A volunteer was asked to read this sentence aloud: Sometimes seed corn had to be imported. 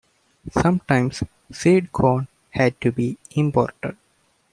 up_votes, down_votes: 2, 0